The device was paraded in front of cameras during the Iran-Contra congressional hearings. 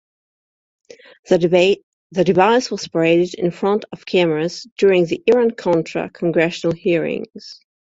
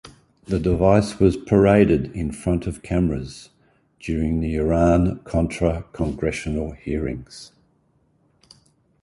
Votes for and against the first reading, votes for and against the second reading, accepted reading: 1, 2, 2, 0, second